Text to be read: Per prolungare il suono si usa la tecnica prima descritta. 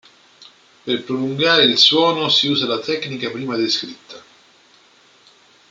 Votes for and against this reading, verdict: 2, 1, accepted